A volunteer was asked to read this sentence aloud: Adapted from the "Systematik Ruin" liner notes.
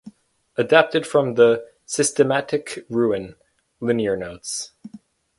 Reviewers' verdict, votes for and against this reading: rejected, 0, 4